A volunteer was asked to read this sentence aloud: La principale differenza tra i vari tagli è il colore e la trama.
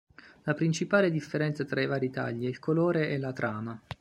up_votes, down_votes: 2, 0